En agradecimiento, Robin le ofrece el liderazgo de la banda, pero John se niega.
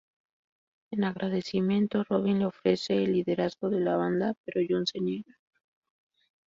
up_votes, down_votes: 2, 2